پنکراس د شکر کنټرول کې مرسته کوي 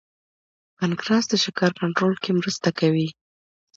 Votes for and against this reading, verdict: 2, 0, accepted